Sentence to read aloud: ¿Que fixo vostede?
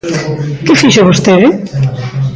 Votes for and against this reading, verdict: 2, 0, accepted